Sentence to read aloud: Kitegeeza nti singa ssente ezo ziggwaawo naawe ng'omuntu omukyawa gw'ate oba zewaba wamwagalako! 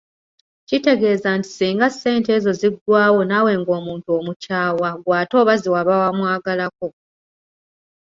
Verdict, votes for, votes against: rejected, 1, 2